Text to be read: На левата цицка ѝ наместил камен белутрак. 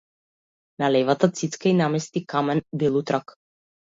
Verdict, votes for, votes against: rejected, 1, 2